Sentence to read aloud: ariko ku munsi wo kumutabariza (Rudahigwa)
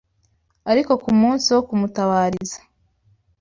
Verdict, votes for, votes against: rejected, 1, 2